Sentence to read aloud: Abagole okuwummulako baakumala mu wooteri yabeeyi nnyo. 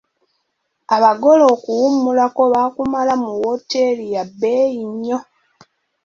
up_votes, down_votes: 2, 0